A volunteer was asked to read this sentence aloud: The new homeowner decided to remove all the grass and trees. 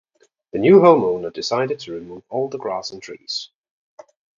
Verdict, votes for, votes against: accepted, 3, 0